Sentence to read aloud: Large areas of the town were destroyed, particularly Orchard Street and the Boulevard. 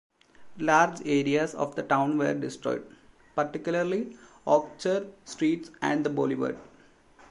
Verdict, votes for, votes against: rejected, 1, 2